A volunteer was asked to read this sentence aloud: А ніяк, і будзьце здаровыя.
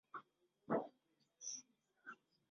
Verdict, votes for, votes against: rejected, 0, 2